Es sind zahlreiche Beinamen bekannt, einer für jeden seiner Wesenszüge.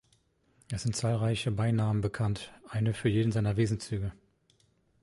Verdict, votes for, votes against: rejected, 1, 2